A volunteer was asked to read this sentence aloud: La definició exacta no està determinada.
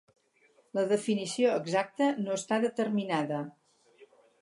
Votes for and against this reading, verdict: 4, 0, accepted